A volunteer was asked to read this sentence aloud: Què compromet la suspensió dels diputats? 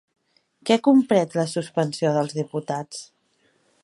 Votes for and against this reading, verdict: 0, 2, rejected